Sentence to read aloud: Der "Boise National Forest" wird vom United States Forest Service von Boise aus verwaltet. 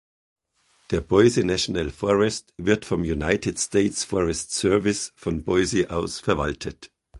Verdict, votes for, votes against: accepted, 2, 0